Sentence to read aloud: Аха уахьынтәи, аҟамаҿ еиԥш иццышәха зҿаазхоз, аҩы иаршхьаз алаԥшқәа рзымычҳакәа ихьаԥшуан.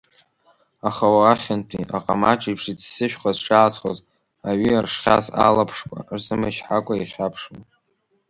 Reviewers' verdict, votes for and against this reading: rejected, 0, 2